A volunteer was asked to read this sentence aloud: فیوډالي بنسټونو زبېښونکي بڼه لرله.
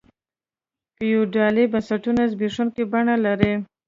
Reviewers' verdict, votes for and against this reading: rejected, 1, 2